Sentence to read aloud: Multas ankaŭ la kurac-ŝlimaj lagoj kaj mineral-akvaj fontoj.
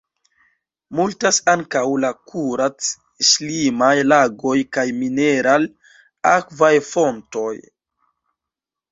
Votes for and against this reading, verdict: 1, 2, rejected